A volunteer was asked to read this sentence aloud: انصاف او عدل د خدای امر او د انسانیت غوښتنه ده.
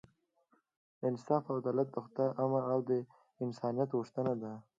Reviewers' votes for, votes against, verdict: 0, 2, rejected